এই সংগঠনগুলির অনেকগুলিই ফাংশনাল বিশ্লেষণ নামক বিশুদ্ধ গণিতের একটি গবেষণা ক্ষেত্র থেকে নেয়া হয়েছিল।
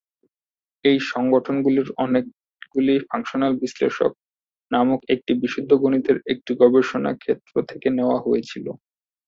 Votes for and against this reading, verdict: 1, 2, rejected